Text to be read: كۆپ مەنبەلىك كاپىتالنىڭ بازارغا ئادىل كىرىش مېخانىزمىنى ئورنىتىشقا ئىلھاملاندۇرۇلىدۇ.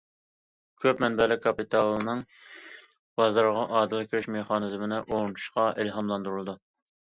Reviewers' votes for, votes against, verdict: 0, 2, rejected